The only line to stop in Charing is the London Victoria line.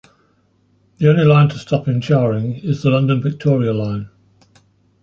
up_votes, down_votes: 2, 0